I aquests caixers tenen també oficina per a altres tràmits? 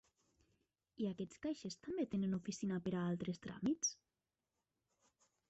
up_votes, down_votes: 1, 3